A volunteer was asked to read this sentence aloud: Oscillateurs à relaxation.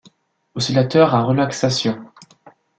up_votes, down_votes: 2, 0